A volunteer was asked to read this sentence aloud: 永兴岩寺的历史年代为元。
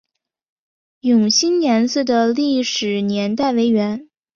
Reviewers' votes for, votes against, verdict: 2, 0, accepted